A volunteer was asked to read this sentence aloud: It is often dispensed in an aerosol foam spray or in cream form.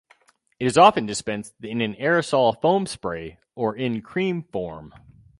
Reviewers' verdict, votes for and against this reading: rejected, 2, 2